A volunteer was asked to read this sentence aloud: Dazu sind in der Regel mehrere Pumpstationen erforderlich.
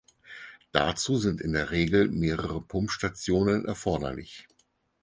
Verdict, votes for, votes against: accepted, 4, 0